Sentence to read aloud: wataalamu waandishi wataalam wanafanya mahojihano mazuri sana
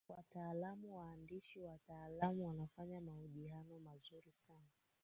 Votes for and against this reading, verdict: 1, 2, rejected